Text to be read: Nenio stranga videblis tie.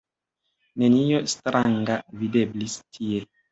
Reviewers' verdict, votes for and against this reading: accepted, 2, 0